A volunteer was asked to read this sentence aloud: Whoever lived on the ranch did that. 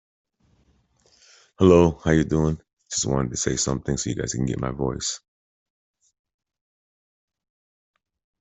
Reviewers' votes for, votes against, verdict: 0, 2, rejected